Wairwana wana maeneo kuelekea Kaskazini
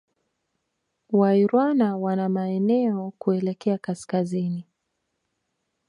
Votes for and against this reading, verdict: 3, 0, accepted